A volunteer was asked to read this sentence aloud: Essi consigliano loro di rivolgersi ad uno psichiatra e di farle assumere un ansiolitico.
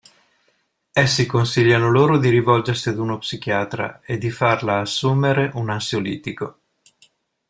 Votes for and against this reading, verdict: 0, 2, rejected